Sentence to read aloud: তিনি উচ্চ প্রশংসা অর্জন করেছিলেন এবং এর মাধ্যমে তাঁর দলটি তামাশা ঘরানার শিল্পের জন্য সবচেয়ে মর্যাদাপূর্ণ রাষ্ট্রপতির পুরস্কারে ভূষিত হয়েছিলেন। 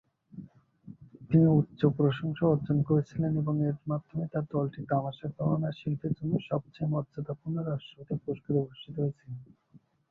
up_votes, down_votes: 0, 2